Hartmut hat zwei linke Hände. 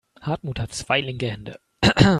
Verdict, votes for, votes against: rejected, 0, 2